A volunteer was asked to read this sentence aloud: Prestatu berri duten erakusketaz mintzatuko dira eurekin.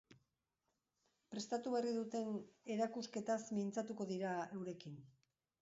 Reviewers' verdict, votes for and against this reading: accepted, 2, 0